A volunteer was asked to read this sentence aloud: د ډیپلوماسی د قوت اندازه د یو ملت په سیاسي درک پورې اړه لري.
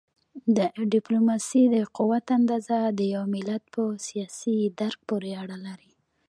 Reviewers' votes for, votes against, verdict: 1, 2, rejected